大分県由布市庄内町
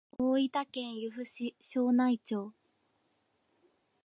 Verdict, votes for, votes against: accepted, 2, 0